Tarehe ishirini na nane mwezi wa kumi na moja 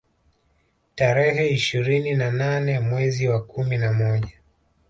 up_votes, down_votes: 2, 1